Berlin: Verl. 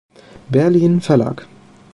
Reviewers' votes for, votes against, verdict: 0, 2, rejected